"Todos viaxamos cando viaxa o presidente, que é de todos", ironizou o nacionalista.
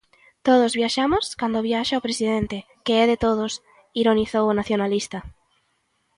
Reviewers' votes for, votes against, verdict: 2, 0, accepted